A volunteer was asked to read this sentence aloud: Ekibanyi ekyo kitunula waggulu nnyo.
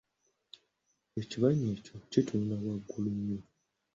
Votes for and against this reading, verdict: 2, 0, accepted